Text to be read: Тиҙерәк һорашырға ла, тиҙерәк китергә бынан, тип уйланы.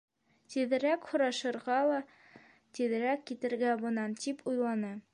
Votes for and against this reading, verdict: 2, 0, accepted